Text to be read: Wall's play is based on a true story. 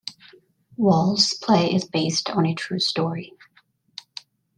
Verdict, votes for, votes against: accepted, 2, 0